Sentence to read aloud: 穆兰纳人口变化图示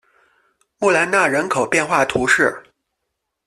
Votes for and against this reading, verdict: 2, 0, accepted